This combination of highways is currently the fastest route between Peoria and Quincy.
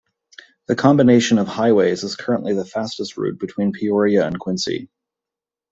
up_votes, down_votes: 0, 2